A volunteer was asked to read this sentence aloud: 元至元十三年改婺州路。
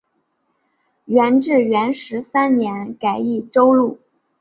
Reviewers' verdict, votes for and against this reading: accepted, 2, 1